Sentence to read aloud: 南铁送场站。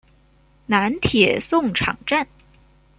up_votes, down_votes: 2, 0